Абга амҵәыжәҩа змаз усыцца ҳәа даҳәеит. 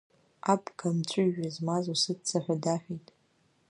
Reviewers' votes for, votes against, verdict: 2, 0, accepted